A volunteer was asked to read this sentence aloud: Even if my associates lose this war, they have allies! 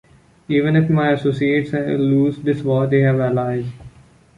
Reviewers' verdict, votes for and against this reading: accepted, 2, 1